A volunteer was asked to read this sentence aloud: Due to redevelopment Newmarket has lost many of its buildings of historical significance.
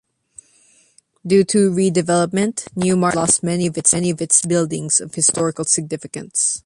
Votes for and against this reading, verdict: 0, 2, rejected